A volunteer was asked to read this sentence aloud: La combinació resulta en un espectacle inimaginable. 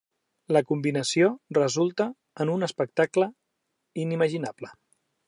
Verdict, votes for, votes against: accepted, 3, 0